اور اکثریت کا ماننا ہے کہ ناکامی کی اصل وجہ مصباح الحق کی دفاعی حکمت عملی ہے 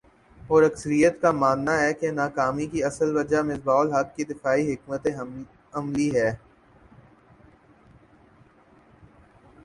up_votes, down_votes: 1, 3